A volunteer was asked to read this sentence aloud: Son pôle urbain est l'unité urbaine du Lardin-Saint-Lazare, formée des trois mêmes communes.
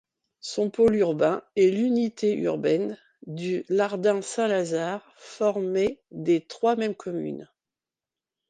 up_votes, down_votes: 2, 0